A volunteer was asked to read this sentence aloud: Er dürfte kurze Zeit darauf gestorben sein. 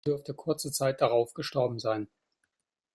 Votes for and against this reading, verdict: 1, 2, rejected